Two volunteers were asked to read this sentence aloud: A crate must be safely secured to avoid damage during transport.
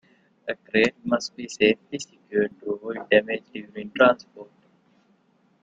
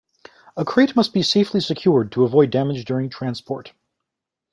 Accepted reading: second